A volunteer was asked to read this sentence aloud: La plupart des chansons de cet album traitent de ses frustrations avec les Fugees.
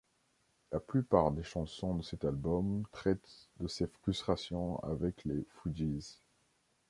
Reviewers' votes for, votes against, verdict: 2, 0, accepted